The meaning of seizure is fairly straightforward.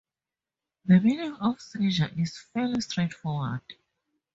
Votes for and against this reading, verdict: 0, 2, rejected